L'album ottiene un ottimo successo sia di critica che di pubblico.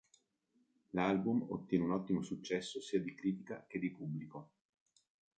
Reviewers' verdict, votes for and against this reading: rejected, 1, 2